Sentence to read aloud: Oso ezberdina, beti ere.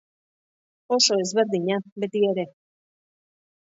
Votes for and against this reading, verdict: 2, 0, accepted